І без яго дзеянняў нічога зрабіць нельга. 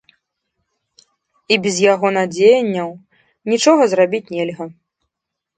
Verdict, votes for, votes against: rejected, 0, 2